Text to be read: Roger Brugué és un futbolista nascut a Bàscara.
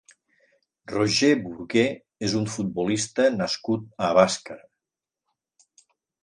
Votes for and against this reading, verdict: 0, 2, rejected